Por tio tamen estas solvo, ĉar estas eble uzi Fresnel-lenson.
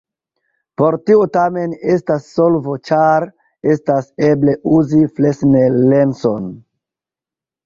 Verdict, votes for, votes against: accepted, 2, 0